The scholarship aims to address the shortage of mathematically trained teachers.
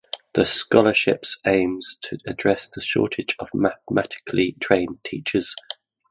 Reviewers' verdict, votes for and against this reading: rejected, 0, 2